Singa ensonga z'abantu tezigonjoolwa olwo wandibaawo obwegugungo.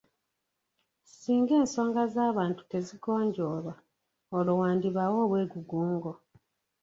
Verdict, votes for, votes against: rejected, 0, 2